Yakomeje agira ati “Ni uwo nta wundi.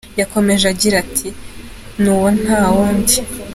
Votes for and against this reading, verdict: 2, 0, accepted